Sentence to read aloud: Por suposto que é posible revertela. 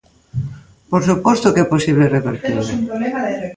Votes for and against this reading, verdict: 1, 2, rejected